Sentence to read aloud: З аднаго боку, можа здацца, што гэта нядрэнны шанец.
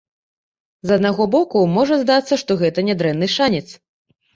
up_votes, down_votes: 2, 0